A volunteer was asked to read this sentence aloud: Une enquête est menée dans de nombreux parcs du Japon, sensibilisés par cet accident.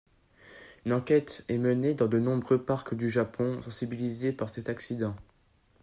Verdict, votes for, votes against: rejected, 1, 2